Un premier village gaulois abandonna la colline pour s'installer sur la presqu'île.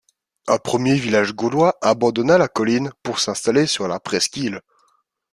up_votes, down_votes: 3, 0